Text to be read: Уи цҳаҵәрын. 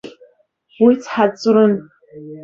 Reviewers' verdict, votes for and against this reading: rejected, 1, 2